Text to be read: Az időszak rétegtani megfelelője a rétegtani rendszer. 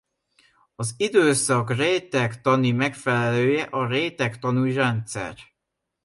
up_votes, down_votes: 0, 2